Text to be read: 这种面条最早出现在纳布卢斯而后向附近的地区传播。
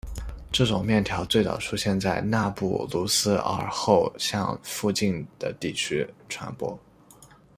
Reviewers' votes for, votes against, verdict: 2, 1, accepted